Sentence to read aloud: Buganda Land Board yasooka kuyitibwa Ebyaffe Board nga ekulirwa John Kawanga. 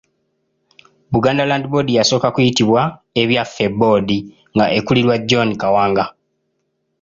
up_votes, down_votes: 2, 0